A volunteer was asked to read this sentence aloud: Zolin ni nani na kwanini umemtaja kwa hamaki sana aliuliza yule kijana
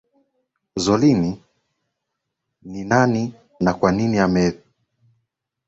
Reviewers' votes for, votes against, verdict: 0, 2, rejected